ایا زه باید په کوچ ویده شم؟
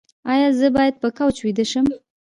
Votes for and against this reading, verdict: 1, 2, rejected